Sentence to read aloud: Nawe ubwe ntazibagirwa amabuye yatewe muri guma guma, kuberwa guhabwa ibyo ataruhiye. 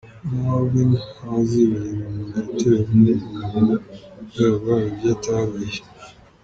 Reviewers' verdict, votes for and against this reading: rejected, 0, 2